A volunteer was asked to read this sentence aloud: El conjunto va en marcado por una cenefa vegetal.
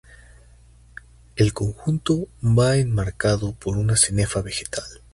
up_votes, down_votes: 2, 0